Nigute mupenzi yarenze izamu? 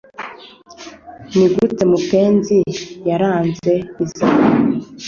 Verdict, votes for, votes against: rejected, 0, 2